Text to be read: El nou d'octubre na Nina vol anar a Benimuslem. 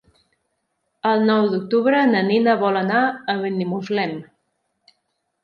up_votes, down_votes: 3, 0